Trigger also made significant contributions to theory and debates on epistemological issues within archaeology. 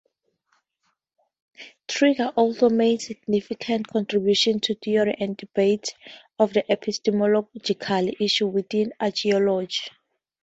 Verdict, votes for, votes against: rejected, 0, 4